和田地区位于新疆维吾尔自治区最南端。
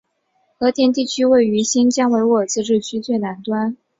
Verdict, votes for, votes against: accepted, 3, 0